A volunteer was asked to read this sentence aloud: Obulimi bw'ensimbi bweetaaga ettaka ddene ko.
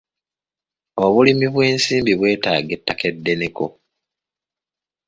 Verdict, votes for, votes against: rejected, 1, 2